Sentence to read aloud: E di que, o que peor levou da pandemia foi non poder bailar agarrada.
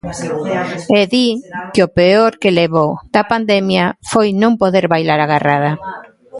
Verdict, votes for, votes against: rejected, 0, 2